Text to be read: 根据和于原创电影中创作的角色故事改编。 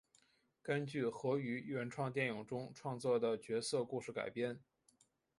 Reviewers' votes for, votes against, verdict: 3, 1, accepted